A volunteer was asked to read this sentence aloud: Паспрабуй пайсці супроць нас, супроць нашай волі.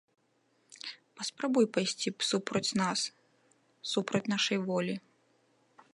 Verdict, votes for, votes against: accepted, 3, 1